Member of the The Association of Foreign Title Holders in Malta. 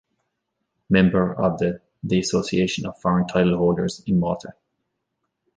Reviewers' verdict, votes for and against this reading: rejected, 1, 2